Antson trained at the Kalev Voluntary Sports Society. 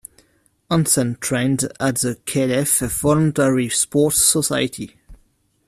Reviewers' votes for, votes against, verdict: 1, 2, rejected